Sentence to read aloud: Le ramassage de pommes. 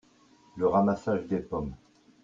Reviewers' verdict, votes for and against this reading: rejected, 0, 2